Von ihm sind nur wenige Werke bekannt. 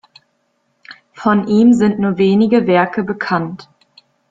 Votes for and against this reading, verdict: 2, 0, accepted